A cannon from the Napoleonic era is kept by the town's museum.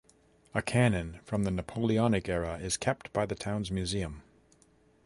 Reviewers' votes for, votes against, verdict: 2, 0, accepted